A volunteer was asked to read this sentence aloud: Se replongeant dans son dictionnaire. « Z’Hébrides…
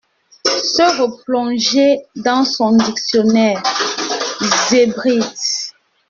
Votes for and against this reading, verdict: 0, 2, rejected